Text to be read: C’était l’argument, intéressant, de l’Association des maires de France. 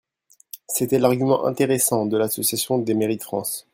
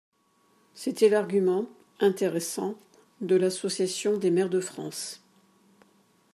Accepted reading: second